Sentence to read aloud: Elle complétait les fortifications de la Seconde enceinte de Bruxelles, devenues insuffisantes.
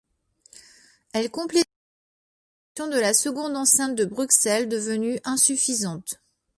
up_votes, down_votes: 1, 2